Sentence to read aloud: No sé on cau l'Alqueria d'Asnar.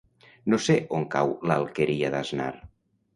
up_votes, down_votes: 2, 0